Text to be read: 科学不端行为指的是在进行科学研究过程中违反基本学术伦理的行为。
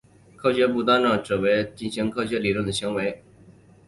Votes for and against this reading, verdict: 3, 2, accepted